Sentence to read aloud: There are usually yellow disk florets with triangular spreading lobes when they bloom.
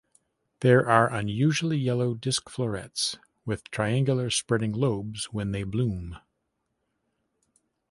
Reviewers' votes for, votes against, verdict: 0, 2, rejected